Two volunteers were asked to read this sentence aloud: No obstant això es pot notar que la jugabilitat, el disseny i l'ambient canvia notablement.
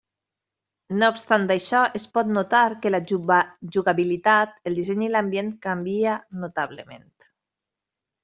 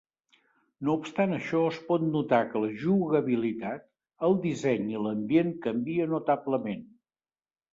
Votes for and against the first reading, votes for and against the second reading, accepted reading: 0, 2, 4, 0, second